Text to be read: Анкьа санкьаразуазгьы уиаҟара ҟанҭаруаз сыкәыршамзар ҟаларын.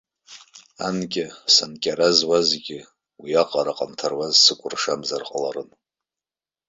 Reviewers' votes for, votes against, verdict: 1, 2, rejected